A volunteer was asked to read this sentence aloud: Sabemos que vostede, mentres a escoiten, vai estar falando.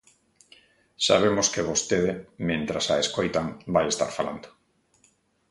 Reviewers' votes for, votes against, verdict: 1, 2, rejected